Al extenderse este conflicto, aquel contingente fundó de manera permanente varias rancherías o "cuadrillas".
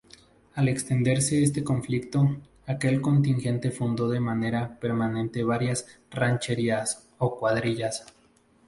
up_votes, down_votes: 2, 0